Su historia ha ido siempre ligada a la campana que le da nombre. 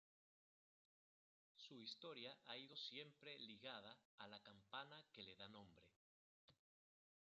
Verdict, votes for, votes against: rejected, 0, 2